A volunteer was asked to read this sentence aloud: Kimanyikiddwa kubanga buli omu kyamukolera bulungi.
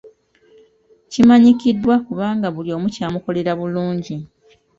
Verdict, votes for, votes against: accepted, 2, 0